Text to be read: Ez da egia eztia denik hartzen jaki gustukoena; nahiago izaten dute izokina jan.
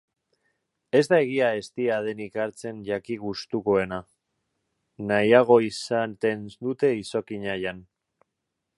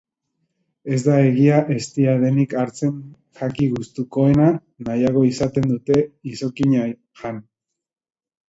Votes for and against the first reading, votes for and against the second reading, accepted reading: 1, 2, 2, 0, second